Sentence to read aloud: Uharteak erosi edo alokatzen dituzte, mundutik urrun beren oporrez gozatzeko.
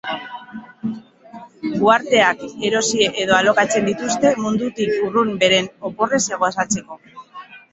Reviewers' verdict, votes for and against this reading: rejected, 0, 3